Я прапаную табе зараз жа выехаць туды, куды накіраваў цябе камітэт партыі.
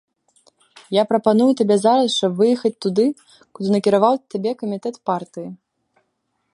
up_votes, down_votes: 0, 2